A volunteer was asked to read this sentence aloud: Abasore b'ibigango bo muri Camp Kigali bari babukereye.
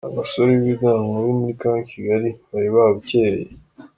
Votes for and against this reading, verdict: 2, 0, accepted